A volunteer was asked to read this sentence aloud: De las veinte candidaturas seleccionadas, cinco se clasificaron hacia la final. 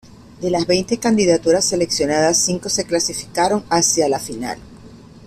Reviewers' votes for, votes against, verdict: 2, 0, accepted